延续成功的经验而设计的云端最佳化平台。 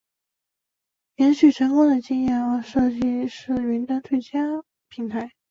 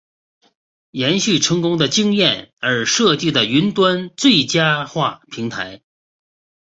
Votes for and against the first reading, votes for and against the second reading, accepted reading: 1, 2, 2, 0, second